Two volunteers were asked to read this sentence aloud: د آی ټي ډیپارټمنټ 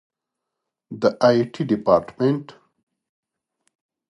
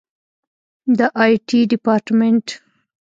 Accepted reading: first